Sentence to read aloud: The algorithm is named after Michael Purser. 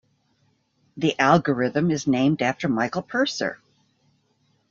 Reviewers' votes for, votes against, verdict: 2, 0, accepted